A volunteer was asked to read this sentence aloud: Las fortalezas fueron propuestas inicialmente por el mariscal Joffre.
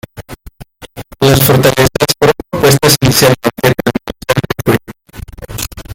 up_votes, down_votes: 0, 2